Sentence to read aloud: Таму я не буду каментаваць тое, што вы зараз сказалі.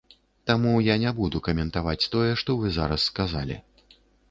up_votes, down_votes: 2, 0